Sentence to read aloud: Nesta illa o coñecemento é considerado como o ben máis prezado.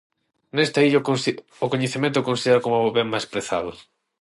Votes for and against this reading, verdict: 0, 6, rejected